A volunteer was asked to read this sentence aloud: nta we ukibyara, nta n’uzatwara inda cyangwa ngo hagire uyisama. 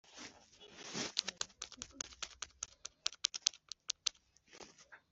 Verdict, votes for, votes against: rejected, 0, 2